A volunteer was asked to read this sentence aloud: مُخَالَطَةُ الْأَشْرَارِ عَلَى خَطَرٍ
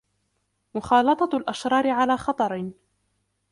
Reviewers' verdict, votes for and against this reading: accepted, 2, 1